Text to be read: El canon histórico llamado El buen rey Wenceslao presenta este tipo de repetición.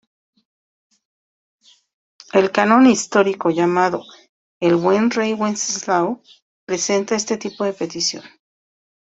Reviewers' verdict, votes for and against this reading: rejected, 0, 2